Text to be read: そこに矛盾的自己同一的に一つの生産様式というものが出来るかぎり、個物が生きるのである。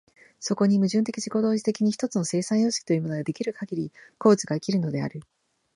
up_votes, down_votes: 0, 2